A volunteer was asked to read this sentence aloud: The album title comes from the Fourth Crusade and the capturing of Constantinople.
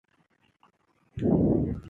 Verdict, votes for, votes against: rejected, 0, 2